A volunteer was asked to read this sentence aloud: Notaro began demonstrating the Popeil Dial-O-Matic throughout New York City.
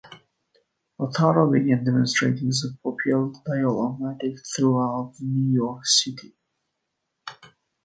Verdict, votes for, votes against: accepted, 2, 1